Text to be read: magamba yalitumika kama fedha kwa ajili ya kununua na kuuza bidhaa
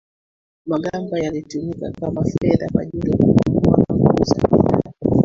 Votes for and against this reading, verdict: 0, 2, rejected